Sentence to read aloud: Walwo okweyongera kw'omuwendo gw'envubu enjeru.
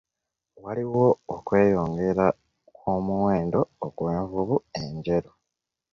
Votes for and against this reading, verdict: 0, 2, rejected